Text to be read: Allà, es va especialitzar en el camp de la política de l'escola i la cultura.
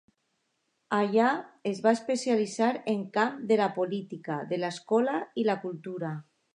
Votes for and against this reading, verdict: 1, 2, rejected